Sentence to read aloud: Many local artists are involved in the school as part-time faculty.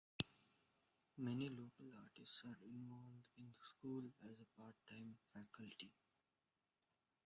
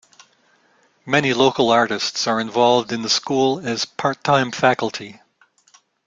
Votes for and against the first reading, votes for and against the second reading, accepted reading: 0, 2, 2, 0, second